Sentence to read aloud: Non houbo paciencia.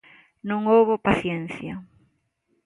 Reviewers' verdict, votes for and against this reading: accepted, 2, 0